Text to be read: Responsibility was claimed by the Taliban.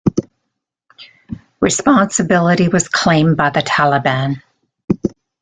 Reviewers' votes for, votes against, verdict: 2, 0, accepted